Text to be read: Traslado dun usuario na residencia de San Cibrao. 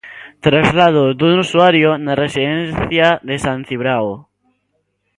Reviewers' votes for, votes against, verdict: 1, 2, rejected